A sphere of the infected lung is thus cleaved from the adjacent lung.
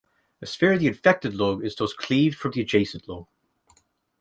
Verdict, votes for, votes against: accepted, 2, 1